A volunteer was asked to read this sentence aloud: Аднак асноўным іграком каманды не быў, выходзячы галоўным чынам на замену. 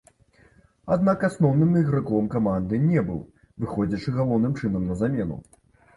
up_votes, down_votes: 0, 2